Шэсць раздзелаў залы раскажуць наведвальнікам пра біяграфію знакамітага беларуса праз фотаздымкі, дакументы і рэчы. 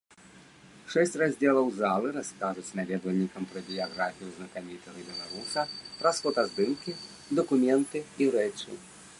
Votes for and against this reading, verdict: 1, 2, rejected